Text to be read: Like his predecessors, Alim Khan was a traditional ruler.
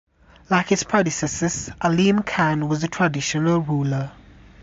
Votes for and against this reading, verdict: 2, 0, accepted